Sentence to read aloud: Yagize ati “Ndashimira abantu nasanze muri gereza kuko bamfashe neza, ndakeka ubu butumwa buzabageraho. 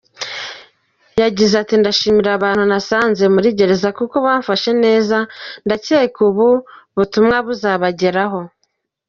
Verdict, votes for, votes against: accepted, 2, 0